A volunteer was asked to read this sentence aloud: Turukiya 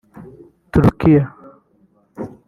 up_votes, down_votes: 3, 1